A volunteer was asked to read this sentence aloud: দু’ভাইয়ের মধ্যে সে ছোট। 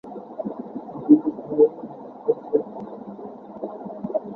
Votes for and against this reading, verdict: 0, 2, rejected